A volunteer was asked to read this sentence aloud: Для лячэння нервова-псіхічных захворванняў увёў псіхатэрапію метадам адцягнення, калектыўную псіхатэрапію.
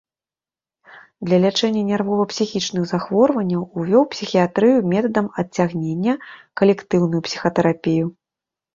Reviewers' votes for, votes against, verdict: 1, 2, rejected